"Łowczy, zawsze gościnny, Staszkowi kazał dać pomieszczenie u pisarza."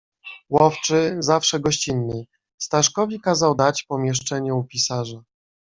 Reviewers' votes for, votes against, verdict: 2, 0, accepted